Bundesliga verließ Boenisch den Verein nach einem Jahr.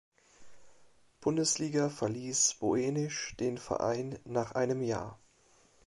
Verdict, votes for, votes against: rejected, 0, 2